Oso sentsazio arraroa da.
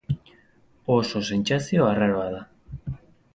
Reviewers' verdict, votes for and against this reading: accepted, 6, 0